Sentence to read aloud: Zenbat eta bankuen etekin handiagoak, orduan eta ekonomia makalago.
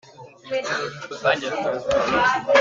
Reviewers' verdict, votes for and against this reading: rejected, 0, 2